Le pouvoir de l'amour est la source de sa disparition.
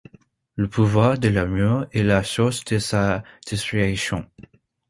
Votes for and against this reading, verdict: 0, 2, rejected